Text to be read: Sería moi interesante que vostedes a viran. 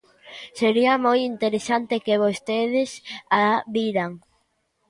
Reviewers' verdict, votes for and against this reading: accepted, 2, 1